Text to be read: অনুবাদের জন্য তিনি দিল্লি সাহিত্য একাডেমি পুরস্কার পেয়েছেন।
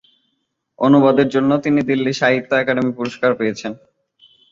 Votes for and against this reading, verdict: 3, 0, accepted